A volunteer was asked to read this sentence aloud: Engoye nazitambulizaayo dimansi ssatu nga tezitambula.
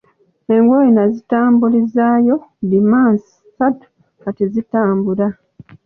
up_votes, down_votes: 2, 0